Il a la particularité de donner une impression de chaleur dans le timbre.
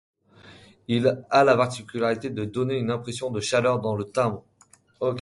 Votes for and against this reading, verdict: 1, 2, rejected